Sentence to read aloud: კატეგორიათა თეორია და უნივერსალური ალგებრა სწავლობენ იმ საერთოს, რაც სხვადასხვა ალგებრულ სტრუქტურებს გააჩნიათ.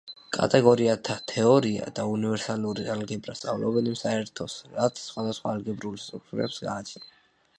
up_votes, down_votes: 2, 0